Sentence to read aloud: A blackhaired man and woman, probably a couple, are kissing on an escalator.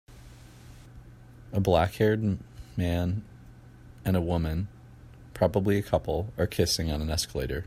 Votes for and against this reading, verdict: 0, 2, rejected